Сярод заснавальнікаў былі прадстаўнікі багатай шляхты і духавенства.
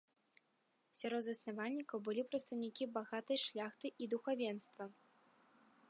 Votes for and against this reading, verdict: 2, 0, accepted